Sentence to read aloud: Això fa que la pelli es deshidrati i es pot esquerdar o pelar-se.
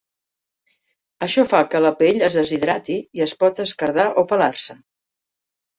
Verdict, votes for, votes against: accepted, 2, 1